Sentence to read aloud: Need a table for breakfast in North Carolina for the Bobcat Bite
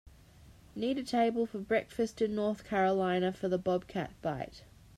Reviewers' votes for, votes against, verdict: 2, 0, accepted